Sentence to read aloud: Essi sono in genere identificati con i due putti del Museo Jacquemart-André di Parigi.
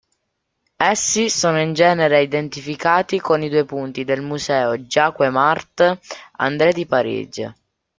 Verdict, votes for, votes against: accepted, 2, 1